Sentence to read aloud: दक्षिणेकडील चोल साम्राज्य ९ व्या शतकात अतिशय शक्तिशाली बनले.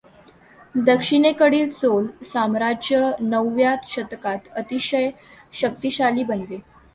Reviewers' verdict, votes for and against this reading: rejected, 0, 2